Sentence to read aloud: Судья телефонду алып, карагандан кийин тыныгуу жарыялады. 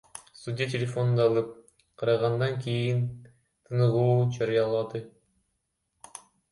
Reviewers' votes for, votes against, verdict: 0, 2, rejected